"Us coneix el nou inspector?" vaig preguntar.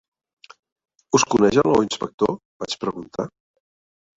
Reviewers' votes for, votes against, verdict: 2, 1, accepted